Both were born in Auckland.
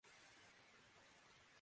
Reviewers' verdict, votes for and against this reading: rejected, 0, 2